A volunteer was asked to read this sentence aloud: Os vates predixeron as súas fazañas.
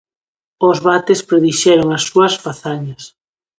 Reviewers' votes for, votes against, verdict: 2, 0, accepted